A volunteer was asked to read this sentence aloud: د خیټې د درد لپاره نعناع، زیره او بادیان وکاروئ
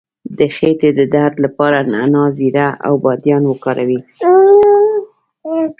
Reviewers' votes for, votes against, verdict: 1, 2, rejected